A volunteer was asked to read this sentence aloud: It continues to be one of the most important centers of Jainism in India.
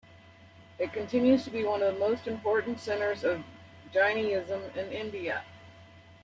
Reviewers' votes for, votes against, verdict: 1, 2, rejected